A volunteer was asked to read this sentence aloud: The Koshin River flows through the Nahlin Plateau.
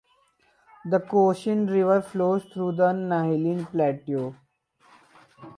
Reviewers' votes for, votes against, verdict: 2, 4, rejected